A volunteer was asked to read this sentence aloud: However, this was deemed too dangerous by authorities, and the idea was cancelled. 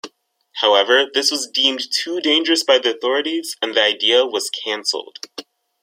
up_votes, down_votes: 1, 2